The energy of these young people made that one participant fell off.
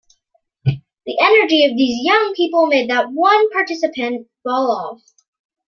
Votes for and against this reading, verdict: 1, 2, rejected